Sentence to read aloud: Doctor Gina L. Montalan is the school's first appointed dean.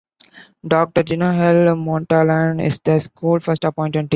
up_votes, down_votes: 1, 2